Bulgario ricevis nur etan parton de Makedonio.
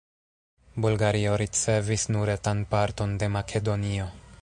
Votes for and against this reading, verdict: 0, 2, rejected